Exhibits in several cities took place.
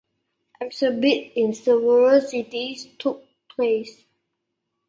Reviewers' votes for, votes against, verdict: 1, 2, rejected